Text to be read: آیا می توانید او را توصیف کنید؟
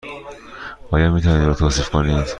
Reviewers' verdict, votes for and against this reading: accepted, 2, 0